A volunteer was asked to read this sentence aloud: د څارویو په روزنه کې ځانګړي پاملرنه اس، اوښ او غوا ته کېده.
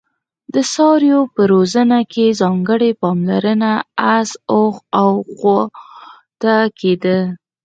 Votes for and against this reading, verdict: 2, 4, rejected